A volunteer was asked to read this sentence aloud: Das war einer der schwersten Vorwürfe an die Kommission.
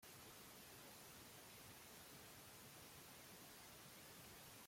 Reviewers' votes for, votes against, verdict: 0, 2, rejected